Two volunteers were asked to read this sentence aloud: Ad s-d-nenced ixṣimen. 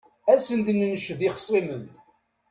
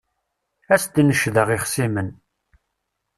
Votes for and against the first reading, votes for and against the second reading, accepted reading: 2, 0, 1, 2, first